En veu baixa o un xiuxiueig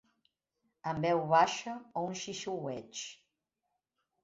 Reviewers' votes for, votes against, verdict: 0, 2, rejected